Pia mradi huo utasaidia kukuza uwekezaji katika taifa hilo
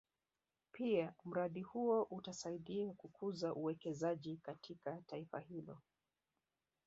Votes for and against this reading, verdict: 1, 2, rejected